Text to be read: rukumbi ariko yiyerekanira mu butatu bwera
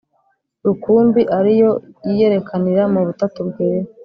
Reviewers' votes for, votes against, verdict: 0, 2, rejected